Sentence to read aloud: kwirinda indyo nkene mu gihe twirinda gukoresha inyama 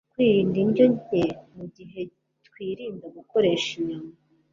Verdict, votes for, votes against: rejected, 1, 2